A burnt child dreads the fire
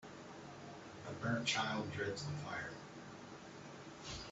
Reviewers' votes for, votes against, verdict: 0, 2, rejected